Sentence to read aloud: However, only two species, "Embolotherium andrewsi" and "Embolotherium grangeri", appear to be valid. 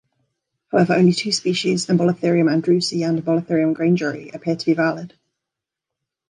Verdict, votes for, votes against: accepted, 2, 0